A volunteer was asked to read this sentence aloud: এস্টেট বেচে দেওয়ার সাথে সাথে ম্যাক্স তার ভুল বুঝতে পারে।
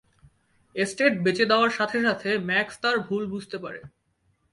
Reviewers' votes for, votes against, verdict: 10, 0, accepted